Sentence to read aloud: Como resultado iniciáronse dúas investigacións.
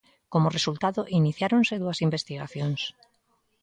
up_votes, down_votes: 2, 0